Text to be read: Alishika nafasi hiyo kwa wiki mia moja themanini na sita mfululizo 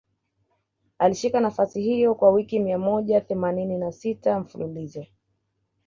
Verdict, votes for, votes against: accepted, 2, 0